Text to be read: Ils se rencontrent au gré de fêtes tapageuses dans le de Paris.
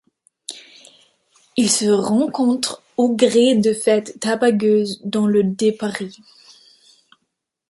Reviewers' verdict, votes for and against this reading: rejected, 0, 2